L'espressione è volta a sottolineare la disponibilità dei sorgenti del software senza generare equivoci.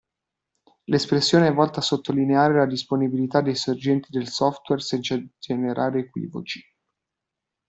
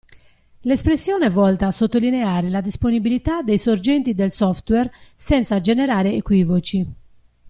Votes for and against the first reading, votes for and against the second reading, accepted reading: 0, 2, 2, 0, second